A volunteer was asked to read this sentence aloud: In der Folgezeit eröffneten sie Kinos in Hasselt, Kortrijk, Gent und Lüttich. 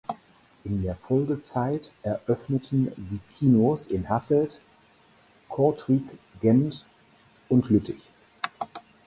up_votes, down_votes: 4, 0